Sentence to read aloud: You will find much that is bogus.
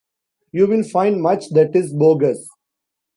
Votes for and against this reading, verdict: 2, 1, accepted